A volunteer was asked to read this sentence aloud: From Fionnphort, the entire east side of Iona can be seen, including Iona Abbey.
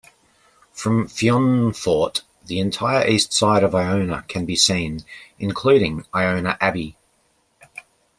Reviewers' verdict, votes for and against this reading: accepted, 2, 0